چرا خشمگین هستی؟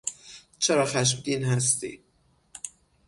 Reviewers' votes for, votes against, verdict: 6, 0, accepted